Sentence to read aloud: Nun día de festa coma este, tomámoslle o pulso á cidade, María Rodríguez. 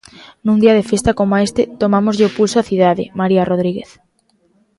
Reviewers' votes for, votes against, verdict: 2, 0, accepted